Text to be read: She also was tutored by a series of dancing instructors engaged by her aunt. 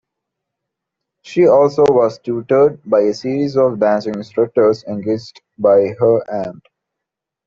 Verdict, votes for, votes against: accepted, 2, 0